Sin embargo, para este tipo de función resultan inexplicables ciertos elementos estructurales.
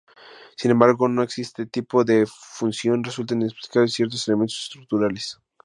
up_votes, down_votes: 2, 4